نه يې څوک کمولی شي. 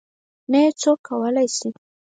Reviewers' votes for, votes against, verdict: 2, 4, rejected